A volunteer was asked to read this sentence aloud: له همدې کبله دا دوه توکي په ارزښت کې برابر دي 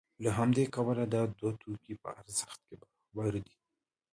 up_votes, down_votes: 1, 2